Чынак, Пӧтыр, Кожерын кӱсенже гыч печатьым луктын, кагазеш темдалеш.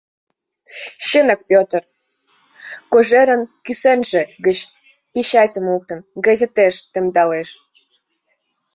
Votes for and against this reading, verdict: 1, 2, rejected